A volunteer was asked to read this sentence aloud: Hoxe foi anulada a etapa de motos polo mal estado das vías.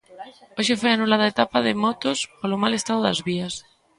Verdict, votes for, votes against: rejected, 1, 2